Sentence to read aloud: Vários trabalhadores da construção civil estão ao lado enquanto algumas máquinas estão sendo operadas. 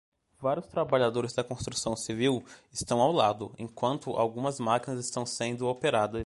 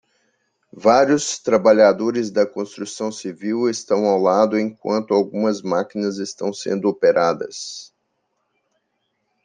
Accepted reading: second